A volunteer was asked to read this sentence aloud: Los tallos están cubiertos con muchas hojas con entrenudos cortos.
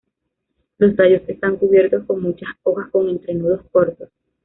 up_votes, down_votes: 1, 2